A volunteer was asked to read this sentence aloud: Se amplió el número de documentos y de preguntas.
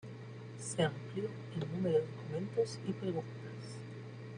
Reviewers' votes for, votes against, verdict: 0, 2, rejected